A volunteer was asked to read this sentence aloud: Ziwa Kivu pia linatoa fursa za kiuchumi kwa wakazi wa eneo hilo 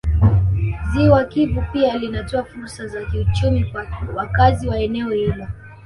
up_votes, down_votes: 1, 2